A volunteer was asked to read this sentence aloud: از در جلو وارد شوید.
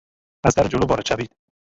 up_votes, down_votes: 0, 2